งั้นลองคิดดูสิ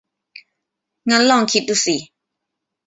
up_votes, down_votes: 2, 0